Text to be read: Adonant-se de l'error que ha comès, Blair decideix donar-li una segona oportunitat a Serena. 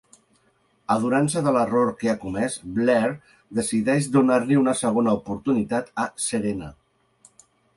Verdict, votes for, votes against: accepted, 2, 0